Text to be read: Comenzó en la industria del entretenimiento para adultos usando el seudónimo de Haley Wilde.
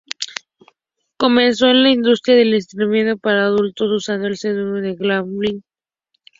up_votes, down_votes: 2, 0